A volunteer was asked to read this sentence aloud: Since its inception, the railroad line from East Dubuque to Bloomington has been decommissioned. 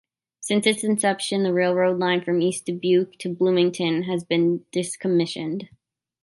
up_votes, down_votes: 0, 2